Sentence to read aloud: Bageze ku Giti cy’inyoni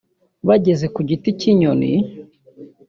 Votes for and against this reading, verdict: 2, 0, accepted